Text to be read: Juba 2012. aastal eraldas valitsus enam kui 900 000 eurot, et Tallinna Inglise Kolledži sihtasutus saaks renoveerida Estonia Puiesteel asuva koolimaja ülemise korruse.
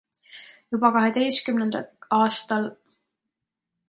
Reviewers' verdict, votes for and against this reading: rejected, 0, 2